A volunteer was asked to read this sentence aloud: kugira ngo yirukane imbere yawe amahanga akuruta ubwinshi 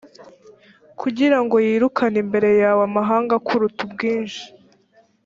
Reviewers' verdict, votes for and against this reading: accepted, 2, 0